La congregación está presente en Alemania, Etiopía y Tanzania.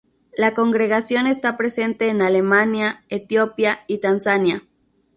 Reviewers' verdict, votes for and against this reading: rejected, 0, 2